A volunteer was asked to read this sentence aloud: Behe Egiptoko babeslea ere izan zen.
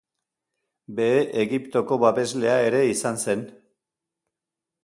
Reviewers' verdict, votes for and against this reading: accepted, 2, 0